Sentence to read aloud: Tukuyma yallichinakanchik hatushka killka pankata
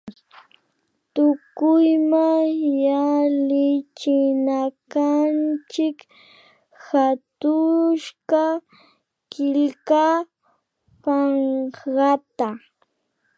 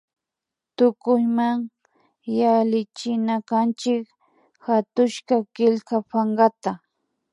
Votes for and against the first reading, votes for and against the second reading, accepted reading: 0, 2, 2, 1, second